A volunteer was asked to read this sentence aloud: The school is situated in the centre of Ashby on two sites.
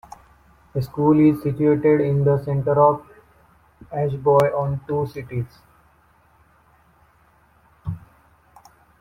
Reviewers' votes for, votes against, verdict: 2, 1, accepted